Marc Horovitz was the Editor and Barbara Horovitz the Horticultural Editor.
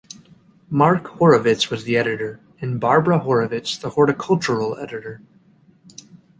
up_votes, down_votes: 2, 0